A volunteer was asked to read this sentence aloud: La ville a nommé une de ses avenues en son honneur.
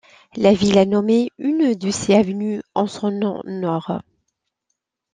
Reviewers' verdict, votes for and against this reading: rejected, 0, 2